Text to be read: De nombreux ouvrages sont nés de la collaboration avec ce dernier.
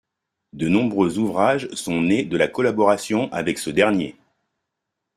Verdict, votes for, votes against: accepted, 2, 0